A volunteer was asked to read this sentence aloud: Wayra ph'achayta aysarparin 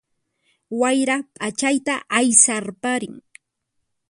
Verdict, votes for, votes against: accepted, 4, 0